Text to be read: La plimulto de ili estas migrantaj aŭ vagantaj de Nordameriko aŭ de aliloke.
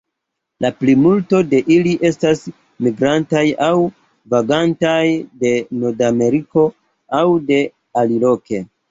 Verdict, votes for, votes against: accepted, 2, 0